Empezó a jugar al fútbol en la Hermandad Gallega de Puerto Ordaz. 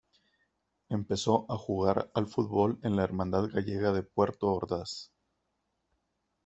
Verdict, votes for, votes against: accepted, 2, 0